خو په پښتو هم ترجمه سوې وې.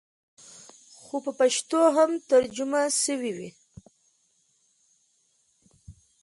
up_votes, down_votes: 2, 0